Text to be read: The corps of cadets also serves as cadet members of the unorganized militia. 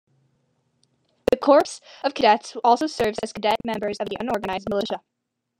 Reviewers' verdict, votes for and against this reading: rejected, 1, 2